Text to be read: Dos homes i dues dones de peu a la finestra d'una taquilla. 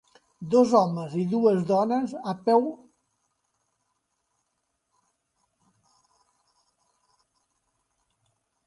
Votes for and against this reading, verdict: 0, 2, rejected